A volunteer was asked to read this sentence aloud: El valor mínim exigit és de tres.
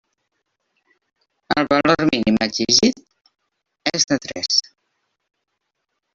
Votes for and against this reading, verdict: 1, 2, rejected